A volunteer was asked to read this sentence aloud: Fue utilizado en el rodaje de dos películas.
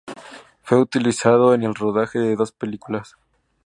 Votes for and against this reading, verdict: 2, 0, accepted